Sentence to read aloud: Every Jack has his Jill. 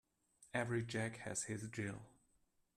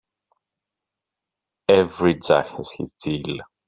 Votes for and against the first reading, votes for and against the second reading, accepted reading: 2, 0, 1, 2, first